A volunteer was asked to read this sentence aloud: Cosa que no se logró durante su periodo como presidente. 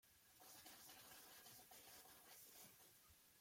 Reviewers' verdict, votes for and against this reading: rejected, 0, 2